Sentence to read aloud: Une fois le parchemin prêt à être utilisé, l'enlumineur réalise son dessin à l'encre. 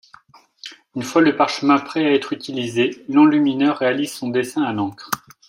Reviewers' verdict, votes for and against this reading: accepted, 2, 0